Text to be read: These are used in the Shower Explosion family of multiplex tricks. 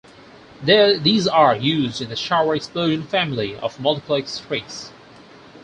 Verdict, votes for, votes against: rejected, 2, 4